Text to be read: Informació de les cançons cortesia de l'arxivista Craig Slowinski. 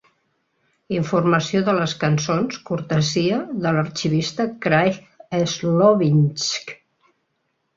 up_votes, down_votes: 2, 0